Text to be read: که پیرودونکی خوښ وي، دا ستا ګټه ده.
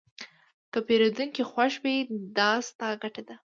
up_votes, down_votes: 2, 0